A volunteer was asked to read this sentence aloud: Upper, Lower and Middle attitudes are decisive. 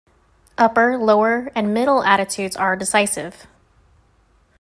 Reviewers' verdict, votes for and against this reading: accepted, 2, 0